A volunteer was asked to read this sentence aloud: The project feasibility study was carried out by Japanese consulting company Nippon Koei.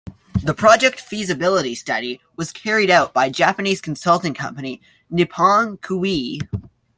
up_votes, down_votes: 2, 0